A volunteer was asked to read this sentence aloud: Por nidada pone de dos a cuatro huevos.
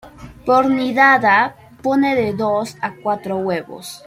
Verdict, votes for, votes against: accepted, 2, 1